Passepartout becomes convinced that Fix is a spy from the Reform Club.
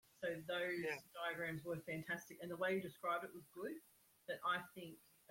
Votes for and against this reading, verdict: 0, 2, rejected